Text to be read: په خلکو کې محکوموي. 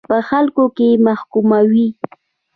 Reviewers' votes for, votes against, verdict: 2, 0, accepted